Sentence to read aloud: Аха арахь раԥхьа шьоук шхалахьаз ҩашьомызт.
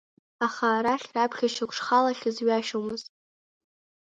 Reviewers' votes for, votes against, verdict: 2, 0, accepted